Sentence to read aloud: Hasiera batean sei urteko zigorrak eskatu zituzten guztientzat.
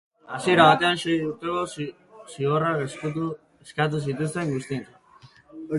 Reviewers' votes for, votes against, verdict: 0, 2, rejected